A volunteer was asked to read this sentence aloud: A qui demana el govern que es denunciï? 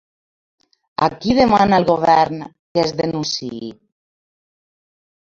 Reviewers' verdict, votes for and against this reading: rejected, 0, 2